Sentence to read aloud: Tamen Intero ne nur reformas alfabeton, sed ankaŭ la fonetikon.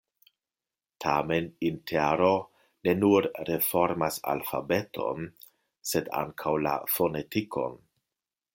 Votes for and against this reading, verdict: 2, 0, accepted